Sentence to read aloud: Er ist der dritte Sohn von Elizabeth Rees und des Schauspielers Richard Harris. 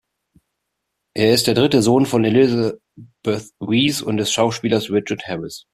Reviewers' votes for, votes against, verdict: 1, 2, rejected